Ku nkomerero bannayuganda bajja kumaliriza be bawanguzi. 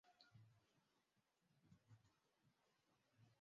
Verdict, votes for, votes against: rejected, 0, 2